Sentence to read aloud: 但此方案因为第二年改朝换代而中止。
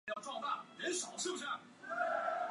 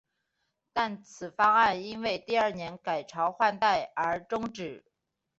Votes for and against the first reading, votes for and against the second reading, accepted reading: 1, 2, 2, 0, second